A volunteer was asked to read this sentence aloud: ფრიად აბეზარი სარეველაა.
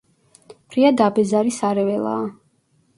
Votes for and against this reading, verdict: 1, 2, rejected